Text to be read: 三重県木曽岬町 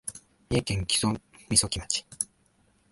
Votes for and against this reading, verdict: 1, 2, rejected